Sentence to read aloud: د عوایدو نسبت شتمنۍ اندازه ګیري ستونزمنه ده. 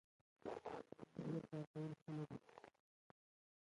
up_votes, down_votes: 0, 3